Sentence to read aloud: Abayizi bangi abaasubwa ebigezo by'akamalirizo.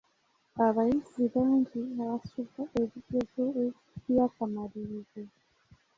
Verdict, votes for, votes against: rejected, 0, 2